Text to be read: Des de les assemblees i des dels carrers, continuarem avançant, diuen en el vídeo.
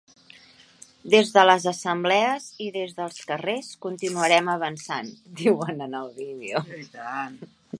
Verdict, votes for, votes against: rejected, 0, 2